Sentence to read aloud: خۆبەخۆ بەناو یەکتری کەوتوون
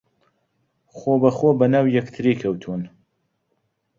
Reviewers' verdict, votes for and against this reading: accepted, 2, 0